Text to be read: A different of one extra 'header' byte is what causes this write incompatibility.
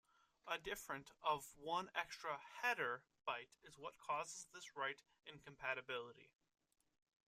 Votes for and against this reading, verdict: 2, 0, accepted